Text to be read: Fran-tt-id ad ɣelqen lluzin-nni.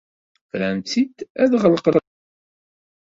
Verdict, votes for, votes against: rejected, 0, 2